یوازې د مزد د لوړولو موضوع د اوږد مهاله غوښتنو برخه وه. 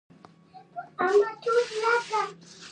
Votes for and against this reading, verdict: 0, 2, rejected